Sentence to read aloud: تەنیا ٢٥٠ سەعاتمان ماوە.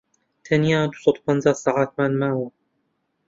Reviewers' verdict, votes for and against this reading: rejected, 0, 2